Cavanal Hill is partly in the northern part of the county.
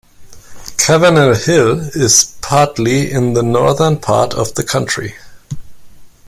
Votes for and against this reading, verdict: 1, 2, rejected